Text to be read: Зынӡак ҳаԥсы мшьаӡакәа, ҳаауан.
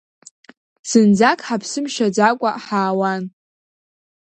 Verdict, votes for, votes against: accepted, 2, 0